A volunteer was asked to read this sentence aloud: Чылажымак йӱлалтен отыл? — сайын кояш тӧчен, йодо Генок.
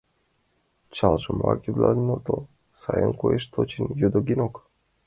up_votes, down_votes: 0, 2